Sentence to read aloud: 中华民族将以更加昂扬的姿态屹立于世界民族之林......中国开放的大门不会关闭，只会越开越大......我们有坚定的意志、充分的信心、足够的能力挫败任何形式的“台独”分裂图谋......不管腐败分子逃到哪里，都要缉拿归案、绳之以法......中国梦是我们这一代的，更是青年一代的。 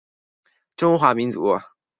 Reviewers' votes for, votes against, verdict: 0, 3, rejected